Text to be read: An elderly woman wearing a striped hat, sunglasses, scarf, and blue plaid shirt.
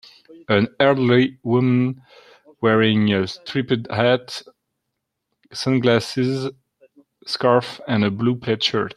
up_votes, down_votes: 0, 2